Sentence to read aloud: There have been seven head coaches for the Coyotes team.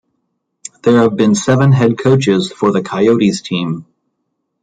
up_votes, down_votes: 1, 2